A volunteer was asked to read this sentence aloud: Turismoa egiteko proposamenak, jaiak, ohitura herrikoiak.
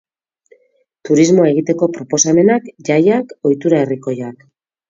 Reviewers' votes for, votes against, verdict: 4, 0, accepted